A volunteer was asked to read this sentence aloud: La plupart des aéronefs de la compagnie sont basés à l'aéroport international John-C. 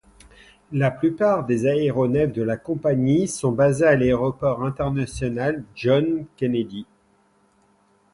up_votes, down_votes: 0, 2